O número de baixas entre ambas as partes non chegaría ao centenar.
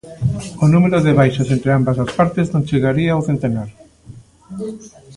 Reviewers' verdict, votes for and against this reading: rejected, 1, 2